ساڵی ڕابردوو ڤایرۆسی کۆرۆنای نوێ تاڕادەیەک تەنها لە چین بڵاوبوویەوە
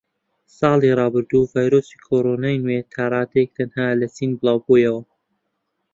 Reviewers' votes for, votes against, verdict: 2, 0, accepted